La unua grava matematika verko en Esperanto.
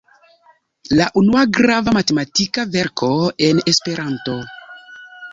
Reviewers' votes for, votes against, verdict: 2, 0, accepted